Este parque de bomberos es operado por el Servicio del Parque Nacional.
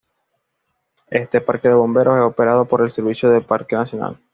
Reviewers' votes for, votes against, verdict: 3, 0, accepted